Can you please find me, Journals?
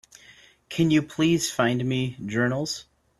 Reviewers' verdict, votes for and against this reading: accepted, 2, 0